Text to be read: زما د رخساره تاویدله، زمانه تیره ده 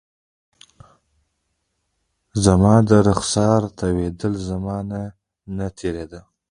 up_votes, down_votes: 0, 2